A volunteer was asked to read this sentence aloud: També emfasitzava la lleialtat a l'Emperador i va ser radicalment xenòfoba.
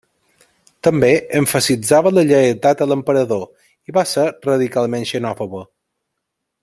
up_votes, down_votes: 2, 0